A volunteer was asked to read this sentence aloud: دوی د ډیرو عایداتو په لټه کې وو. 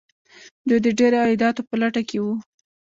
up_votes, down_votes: 2, 0